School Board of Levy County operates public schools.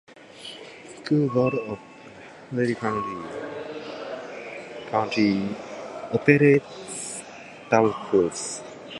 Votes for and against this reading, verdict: 0, 2, rejected